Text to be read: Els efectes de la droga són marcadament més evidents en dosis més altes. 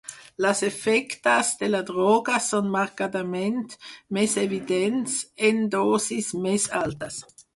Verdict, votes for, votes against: rejected, 0, 4